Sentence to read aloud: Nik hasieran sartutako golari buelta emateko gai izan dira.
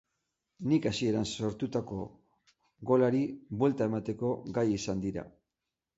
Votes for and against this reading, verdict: 0, 6, rejected